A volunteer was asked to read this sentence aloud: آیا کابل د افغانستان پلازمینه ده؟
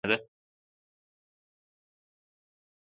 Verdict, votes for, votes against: rejected, 0, 2